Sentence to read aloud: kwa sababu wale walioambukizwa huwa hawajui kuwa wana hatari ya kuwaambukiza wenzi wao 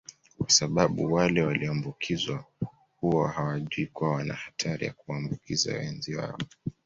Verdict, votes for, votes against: accepted, 2, 0